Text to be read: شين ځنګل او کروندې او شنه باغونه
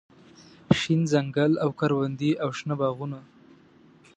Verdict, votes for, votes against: accepted, 3, 0